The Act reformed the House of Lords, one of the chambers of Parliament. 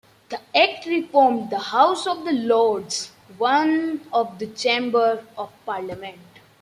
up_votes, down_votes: 0, 2